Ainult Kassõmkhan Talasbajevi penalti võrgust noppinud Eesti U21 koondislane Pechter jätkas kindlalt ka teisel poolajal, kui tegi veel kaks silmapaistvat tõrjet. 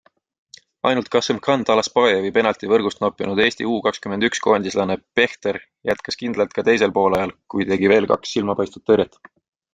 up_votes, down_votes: 0, 2